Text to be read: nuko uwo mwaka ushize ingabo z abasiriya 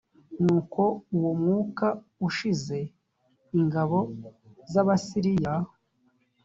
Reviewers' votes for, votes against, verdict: 1, 2, rejected